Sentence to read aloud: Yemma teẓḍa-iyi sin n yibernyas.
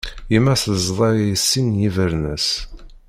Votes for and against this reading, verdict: 1, 2, rejected